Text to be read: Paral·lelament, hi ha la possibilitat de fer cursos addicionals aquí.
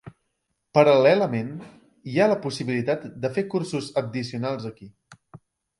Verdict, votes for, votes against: rejected, 0, 2